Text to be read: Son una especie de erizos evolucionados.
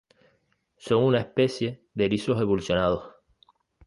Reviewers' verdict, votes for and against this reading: accepted, 2, 1